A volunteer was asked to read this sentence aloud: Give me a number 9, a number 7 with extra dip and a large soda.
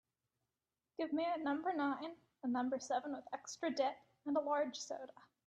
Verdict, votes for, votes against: rejected, 0, 2